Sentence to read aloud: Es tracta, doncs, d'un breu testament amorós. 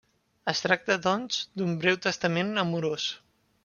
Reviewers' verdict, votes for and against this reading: accepted, 3, 0